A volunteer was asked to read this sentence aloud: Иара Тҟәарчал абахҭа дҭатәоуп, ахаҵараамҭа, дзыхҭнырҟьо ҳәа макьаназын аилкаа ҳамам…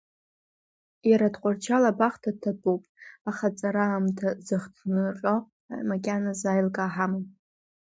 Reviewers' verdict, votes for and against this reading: rejected, 1, 2